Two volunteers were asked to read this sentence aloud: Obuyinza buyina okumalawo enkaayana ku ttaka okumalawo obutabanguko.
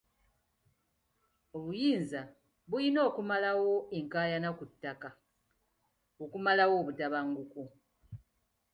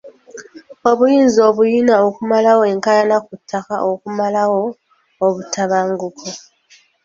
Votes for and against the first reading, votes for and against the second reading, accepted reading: 2, 0, 1, 2, first